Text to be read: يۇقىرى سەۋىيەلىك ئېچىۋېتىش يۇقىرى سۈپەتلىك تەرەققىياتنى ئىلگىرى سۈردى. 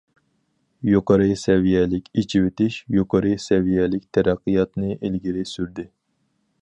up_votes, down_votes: 0, 4